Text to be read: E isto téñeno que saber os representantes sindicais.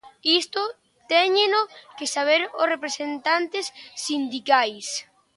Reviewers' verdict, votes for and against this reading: rejected, 0, 2